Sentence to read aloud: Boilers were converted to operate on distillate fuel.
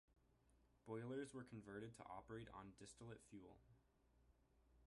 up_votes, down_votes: 0, 2